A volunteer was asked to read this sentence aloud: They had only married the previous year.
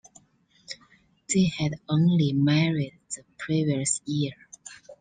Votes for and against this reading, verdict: 2, 0, accepted